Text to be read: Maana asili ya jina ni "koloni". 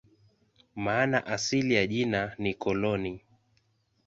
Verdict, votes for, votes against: accepted, 2, 0